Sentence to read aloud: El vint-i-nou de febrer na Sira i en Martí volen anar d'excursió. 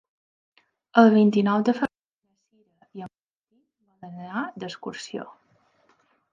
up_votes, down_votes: 1, 2